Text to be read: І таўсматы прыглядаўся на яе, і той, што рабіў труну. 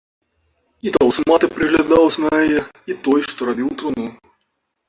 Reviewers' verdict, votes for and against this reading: rejected, 0, 3